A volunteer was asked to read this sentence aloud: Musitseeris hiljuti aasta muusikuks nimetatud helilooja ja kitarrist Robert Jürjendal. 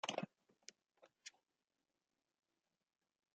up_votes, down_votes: 0, 2